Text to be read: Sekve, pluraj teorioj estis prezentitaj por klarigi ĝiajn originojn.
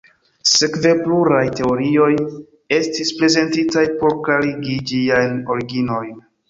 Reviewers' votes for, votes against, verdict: 0, 2, rejected